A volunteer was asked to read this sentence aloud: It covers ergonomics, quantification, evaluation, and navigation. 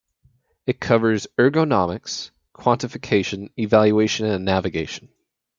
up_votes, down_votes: 0, 2